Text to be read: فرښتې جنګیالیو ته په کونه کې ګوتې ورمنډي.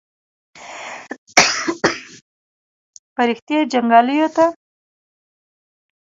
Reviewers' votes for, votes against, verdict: 1, 2, rejected